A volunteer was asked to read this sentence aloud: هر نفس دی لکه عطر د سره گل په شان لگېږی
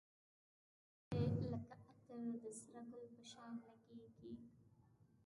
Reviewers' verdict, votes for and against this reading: rejected, 1, 2